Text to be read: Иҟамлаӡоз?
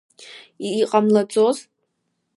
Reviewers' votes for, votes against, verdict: 1, 3, rejected